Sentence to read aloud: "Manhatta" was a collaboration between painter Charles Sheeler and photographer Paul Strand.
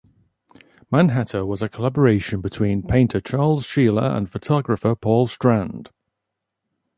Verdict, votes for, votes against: rejected, 0, 2